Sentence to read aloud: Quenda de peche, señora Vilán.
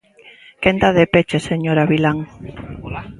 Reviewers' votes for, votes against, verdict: 1, 2, rejected